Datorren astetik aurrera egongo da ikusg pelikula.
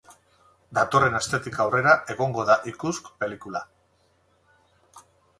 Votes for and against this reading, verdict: 2, 2, rejected